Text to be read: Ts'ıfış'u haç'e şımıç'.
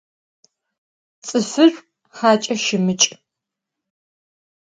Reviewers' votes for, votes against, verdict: 0, 4, rejected